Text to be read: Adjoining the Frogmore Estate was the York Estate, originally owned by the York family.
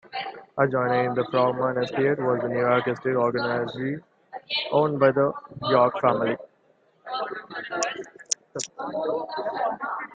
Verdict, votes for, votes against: rejected, 0, 2